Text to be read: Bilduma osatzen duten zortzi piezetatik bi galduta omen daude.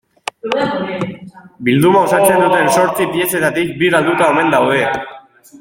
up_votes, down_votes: 1, 3